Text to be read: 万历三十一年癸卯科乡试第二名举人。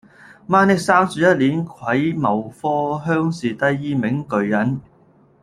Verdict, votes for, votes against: rejected, 0, 2